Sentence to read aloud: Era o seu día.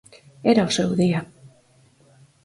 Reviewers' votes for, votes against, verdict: 4, 0, accepted